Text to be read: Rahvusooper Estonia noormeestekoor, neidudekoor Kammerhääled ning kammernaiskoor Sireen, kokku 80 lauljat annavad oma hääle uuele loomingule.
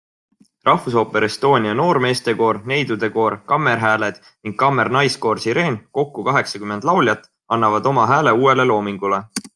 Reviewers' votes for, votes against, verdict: 0, 2, rejected